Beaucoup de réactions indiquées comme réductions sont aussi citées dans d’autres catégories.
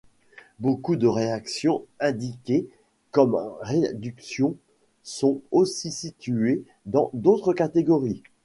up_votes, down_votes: 0, 2